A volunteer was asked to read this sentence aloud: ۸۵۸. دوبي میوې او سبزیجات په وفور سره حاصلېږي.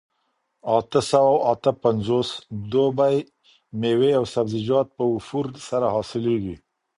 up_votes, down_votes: 0, 2